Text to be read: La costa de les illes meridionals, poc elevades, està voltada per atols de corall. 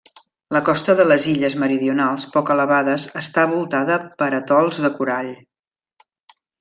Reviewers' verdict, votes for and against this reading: accepted, 2, 0